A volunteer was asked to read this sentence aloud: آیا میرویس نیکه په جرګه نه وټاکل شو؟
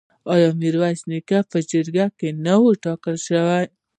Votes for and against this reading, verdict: 1, 2, rejected